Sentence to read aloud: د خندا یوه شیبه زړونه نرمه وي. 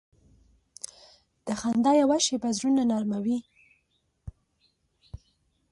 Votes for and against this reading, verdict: 2, 0, accepted